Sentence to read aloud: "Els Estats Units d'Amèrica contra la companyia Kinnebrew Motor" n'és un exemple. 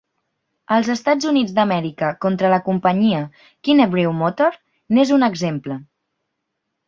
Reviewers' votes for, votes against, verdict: 3, 0, accepted